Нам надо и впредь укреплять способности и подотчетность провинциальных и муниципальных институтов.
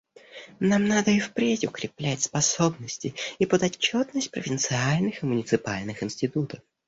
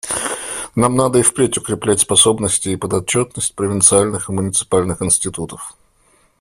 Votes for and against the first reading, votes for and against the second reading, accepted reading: 0, 2, 2, 1, second